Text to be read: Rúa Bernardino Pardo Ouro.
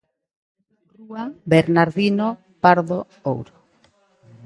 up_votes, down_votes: 0, 2